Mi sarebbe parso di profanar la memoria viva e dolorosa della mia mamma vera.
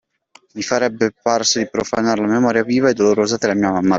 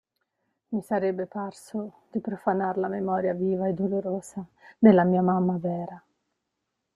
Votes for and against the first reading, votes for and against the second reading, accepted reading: 0, 2, 2, 0, second